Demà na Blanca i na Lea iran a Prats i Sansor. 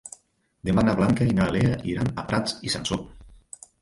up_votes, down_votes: 0, 2